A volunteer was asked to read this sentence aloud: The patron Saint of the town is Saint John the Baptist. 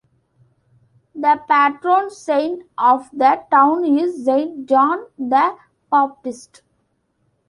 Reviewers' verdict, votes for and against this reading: accepted, 2, 0